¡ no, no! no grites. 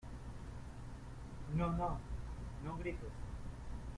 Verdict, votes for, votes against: rejected, 0, 2